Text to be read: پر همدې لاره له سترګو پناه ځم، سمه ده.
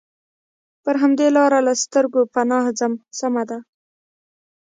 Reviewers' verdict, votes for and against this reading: rejected, 0, 2